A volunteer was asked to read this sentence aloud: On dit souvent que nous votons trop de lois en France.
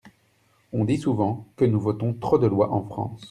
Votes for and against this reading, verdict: 2, 0, accepted